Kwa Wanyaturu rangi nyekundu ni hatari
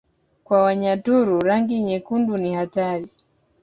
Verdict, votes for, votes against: accepted, 2, 1